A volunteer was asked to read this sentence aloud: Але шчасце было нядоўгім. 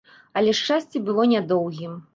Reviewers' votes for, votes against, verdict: 2, 0, accepted